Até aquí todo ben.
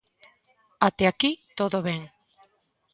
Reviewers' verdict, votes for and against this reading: accepted, 2, 0